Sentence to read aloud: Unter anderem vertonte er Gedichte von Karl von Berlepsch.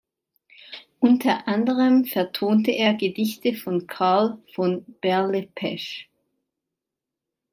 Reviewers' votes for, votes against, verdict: 0, 2, rejected